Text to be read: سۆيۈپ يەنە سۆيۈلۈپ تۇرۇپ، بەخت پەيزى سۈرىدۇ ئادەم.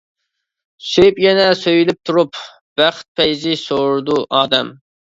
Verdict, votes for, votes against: rejected, 1, 2